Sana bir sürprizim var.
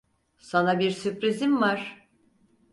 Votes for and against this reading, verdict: 4, 0, accepted